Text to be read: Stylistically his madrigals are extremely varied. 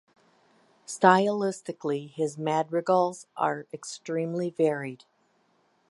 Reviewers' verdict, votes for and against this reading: rejected, 1, 2